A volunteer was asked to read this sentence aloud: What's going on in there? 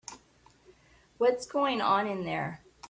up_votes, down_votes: 2, 0